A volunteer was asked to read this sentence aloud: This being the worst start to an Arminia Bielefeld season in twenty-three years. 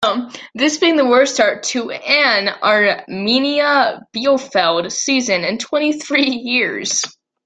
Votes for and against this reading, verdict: 2, 1, accepted